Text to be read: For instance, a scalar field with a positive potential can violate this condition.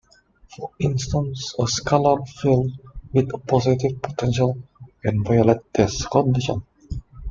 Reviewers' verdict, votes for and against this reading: rejected, 0, 2